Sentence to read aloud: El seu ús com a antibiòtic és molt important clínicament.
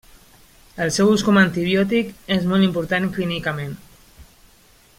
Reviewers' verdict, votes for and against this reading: accepted, 2, 0